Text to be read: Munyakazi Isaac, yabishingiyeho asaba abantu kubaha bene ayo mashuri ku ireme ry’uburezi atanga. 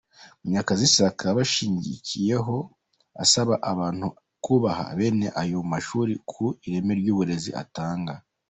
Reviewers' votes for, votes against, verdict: 0, 2, rejected